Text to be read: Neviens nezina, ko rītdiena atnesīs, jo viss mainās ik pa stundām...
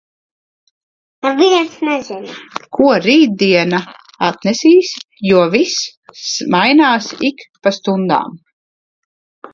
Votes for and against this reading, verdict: 0, 2, rejected